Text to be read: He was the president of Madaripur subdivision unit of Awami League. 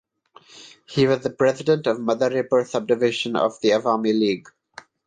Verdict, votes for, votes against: rejected, 0, 3